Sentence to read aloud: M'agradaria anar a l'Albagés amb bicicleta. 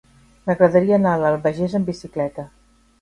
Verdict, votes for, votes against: rejected, 0, 2